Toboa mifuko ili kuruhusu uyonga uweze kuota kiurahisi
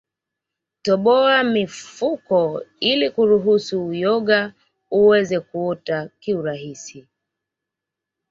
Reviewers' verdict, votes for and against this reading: accepted, 2, 0